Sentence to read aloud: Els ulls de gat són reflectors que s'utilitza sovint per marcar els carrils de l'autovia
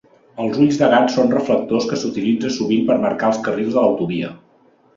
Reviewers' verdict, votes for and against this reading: accepted, 3, 0